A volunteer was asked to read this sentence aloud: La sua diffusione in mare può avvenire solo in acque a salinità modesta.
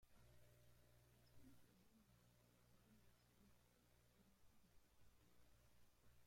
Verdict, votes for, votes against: rejected, 0, 2